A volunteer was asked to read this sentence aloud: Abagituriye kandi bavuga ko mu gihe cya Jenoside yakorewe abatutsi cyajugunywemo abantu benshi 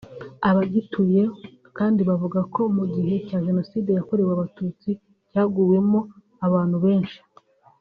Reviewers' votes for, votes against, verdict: 0, 2, rejected